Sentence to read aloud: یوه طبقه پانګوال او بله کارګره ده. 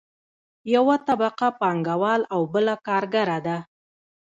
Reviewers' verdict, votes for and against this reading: accepted, 2, 0